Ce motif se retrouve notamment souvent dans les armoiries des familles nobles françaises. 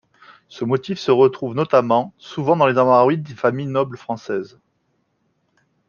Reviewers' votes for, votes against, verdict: 0, 2, rejected